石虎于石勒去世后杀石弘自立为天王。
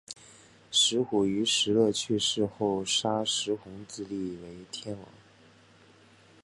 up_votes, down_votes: 2, 1